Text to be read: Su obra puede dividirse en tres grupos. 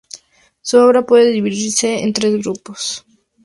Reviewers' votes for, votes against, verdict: 0, 2, rejected